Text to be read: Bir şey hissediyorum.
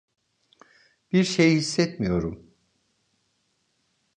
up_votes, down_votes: 0, 2